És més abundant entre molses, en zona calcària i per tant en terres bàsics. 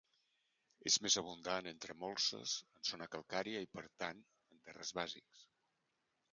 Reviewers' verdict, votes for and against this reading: rejected, 0, 2